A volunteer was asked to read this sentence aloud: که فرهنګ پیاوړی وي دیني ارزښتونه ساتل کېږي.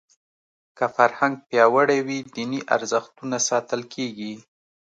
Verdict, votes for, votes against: accepted, 2, 0